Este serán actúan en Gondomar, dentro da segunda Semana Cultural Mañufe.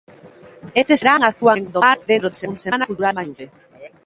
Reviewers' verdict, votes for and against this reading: rejected, 0, 2